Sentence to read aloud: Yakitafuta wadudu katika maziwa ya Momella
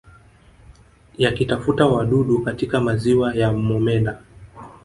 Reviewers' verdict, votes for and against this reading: accepted, 3, 0